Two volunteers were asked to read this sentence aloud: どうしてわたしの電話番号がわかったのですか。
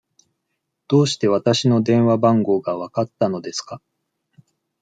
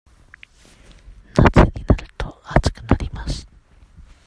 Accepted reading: first